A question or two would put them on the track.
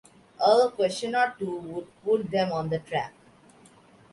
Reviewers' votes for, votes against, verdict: 3, 0, accepted